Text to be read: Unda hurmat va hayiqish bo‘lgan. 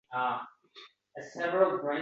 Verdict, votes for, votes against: rejected, 0, 2